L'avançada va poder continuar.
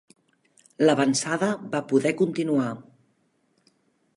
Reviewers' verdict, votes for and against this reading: accepted, 2, 0